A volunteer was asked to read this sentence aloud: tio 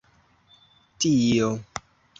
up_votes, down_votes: 0, 2